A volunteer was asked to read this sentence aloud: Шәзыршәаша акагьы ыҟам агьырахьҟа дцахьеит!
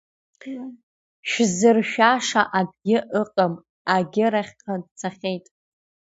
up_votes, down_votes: 2, 0